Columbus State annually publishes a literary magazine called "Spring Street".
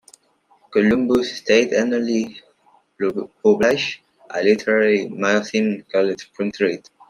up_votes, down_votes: 2, 0